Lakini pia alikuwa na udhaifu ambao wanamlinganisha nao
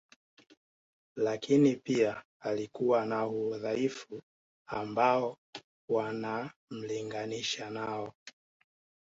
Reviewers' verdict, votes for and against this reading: accepted, 2, 0